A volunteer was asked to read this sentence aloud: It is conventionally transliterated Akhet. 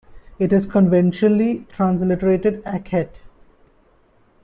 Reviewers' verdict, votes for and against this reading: accepted, 2, 0